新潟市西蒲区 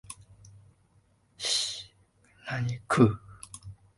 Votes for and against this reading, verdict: 1, 4, rejected